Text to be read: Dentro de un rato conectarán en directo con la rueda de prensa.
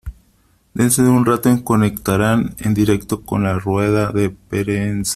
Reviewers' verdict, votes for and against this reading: rejected, 0, 3